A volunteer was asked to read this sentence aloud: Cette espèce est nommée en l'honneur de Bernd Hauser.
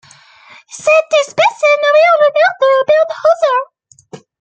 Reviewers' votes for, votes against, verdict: 1, 2, rejected